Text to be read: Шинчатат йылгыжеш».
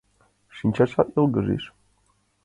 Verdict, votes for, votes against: accepted, 2, 1